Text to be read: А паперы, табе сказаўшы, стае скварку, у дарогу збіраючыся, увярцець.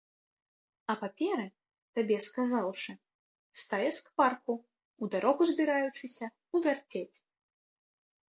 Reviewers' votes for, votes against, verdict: 2, 0, accepted